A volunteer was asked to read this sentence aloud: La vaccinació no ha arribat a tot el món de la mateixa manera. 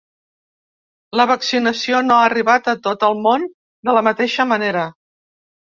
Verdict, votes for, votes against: accepted, 4, 1